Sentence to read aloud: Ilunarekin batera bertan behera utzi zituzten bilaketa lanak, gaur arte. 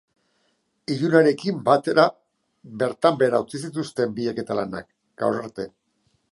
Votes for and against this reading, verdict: 3, 0, accepted